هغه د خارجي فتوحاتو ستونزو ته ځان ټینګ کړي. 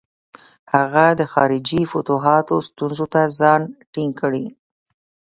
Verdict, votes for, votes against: accepted, 2, 0